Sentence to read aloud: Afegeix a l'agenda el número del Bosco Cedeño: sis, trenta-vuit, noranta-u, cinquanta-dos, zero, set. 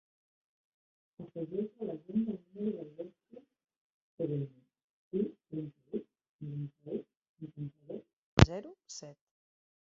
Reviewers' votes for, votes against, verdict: 0, 2, rejected